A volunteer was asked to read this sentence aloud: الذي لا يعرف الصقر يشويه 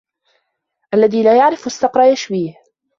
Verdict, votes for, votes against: accepted, 2, 0